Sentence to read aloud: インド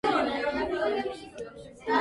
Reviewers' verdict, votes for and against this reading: rejected, 0, 2